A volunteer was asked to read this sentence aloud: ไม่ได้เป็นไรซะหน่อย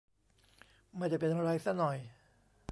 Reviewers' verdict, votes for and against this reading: rejected, 1, 2